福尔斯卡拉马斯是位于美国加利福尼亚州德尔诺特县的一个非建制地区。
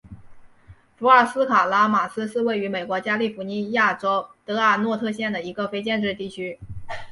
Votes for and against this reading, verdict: 2, 0, accepted